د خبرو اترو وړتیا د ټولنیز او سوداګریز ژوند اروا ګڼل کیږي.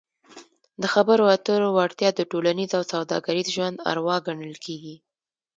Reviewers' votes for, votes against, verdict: 2, 0, accepted